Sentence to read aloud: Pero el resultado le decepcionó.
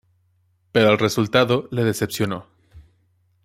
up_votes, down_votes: 0, 2